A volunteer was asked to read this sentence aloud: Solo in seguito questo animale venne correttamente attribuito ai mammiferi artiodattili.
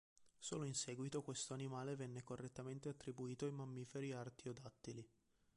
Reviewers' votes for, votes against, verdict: 1, 2, rejected